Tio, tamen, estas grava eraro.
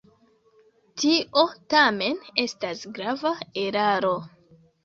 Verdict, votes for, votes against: rejected, 0, 2